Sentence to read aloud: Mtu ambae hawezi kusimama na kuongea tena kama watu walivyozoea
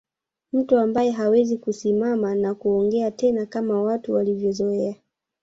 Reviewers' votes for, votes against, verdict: 1, 2, rejected